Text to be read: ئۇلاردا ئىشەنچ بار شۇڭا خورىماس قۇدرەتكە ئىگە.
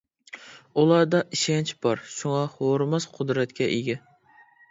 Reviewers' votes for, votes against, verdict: 2, 0, accepted